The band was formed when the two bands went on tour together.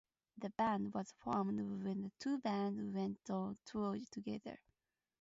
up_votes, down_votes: 0, 2